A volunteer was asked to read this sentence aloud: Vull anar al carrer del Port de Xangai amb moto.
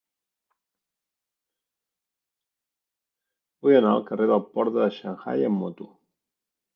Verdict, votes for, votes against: rejected, 1, 2